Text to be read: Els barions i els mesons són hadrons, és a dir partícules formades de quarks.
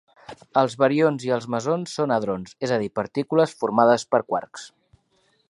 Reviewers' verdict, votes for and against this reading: rejected, 1, 3